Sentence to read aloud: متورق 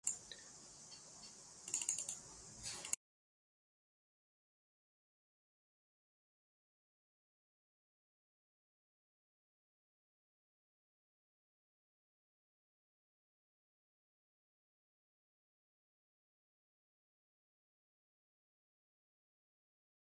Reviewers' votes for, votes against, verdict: 0, 3, rejected